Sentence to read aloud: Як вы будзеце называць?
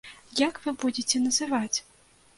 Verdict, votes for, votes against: accepted, 2, 0